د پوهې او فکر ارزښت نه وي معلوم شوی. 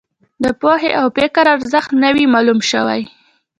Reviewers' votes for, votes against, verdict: 2, 0, accepted